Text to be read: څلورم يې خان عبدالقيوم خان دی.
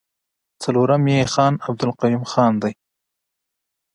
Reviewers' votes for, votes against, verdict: 0, 2, rejected